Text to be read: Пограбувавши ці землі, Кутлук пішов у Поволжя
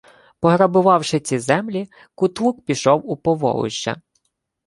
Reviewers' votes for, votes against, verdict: 2, 0, accepted